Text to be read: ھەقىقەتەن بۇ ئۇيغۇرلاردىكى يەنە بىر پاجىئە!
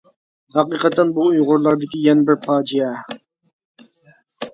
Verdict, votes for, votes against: accepted, 2, 0